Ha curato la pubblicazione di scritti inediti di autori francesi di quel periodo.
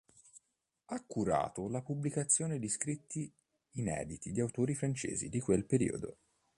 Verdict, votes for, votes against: accepted, 2, 0